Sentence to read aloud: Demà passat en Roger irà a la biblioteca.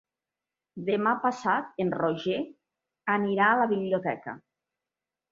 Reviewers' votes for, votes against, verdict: 1, 2, rejected